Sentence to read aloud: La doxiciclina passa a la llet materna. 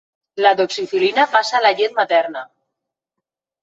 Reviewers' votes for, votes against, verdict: 0, 2, rejected